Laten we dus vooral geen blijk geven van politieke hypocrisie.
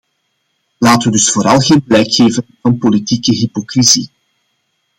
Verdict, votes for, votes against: accepted, 2, 0